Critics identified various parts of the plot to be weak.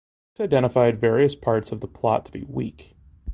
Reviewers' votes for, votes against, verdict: 0, 2, rejected